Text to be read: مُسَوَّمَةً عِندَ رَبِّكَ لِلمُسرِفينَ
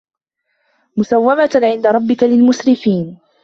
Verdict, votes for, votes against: accepted, 2, 0